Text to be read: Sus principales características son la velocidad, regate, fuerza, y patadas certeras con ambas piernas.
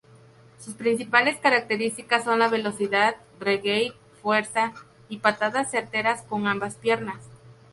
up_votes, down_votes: 0, 2